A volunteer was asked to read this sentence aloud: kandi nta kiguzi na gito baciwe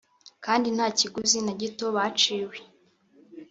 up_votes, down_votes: 1, 2